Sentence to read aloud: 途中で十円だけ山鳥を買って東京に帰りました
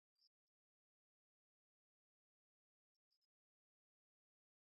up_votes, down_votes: 0, 2